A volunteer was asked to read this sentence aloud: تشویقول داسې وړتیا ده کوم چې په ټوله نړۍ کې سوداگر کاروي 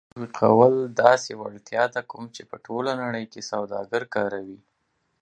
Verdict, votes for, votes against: rejected, 1, 2